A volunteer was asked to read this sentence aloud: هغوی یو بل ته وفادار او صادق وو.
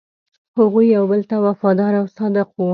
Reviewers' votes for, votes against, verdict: 2, 0, accepted